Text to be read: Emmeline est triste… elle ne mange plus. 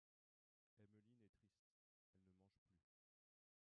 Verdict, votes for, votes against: rejected, 0, 2